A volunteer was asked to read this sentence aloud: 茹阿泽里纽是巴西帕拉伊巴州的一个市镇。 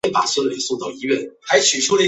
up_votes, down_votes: 0, 6